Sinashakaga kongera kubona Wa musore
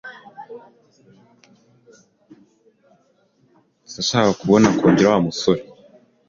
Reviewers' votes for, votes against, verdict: 1, 2, rejected